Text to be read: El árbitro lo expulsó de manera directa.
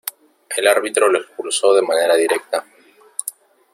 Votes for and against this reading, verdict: 0, 2, rejected